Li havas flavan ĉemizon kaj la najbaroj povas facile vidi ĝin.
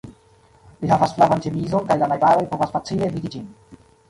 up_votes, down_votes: 0, 2